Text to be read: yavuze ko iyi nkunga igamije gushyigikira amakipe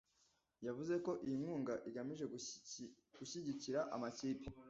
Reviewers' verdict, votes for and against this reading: rejected, 1, 2